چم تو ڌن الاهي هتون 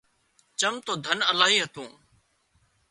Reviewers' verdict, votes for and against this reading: accepted, 2, 0